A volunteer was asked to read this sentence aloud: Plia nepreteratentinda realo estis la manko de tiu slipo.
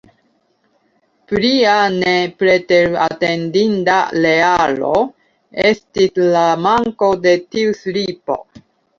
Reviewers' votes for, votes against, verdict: 2, 1, accepted